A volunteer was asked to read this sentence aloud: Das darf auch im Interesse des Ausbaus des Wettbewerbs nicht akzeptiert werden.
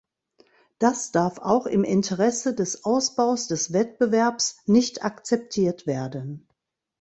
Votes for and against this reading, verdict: 2, 0, accepted